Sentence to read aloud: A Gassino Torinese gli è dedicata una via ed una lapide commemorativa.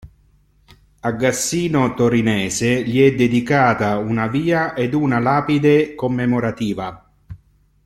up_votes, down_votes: 2, 0